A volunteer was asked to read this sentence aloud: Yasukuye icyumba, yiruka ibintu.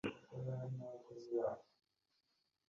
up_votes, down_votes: 0, 2